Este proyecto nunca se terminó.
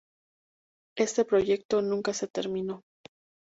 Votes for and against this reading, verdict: 2, 0, accepted